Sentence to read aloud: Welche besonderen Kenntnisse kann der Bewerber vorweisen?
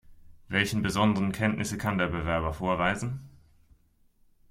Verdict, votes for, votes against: rejected, 0, 2